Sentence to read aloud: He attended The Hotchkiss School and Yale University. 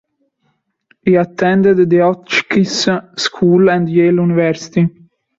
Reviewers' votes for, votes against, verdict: 0, 2, rejected